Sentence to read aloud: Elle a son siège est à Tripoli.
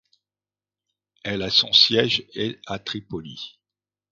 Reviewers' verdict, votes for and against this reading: rejected, 1, 2